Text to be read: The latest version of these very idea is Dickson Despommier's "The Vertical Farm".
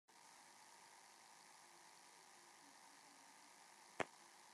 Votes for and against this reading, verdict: 0, 2, rejected